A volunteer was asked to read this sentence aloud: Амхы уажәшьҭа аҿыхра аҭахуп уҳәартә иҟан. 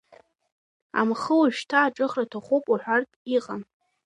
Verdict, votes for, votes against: rejected, 0, 2